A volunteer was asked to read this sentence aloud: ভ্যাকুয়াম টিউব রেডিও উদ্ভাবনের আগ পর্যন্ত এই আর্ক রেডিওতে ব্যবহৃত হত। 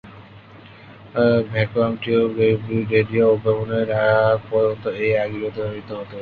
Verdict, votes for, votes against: rejected, 1, 2